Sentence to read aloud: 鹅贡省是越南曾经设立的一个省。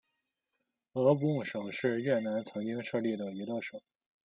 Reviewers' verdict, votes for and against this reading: accepted, 2, 0